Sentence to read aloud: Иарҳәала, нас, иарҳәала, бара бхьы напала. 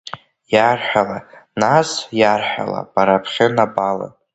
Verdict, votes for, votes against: accepted, 2, 0